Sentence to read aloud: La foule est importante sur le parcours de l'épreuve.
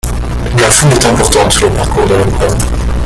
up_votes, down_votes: 1, 2